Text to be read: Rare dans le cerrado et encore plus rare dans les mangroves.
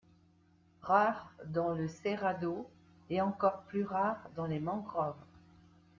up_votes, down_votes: 2, 0